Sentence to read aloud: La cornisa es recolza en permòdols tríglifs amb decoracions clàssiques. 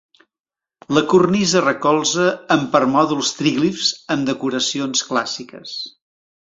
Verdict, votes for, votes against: rejected, 1, 2